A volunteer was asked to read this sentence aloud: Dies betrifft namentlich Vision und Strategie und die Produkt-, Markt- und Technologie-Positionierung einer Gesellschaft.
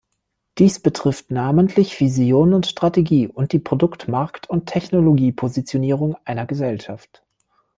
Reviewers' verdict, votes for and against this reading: accepted, 2, 0